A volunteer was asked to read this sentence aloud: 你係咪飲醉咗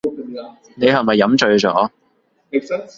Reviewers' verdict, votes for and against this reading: rejected, 0, 2